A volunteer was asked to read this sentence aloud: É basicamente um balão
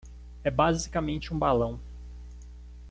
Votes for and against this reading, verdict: 2, 0, accepted